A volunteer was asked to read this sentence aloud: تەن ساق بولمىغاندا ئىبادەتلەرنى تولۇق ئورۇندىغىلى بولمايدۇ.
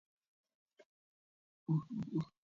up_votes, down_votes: 0, 2